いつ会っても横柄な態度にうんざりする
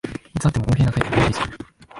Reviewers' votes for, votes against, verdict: 0, 2, rejected